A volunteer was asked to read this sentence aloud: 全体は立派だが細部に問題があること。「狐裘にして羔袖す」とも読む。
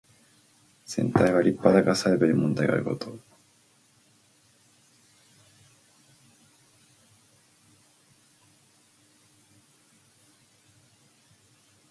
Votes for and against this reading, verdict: 0, 4, rejected